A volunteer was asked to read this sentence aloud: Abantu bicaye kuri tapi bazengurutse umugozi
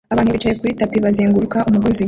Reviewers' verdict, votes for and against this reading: rejected, 0, 2